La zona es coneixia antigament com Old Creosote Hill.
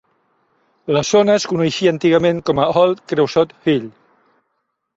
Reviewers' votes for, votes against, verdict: 2, 0, accepted